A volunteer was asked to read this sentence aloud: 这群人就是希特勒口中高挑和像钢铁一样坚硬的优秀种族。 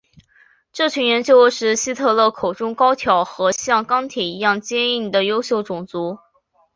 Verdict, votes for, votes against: accepted, 4, 1